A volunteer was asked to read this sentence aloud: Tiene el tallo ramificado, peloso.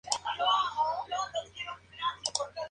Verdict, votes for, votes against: rejected, 0, 2